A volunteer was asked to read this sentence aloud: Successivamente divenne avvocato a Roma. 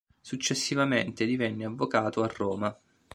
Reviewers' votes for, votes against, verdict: 2, 0, accepted